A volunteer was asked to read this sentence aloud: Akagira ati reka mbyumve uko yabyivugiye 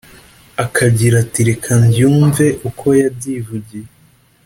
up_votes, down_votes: 2, 0